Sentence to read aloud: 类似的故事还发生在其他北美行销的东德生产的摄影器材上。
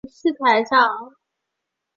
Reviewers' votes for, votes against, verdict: 4, 1, accepted